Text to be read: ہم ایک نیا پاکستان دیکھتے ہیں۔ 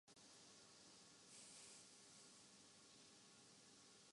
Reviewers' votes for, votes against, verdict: 0, 2, rejected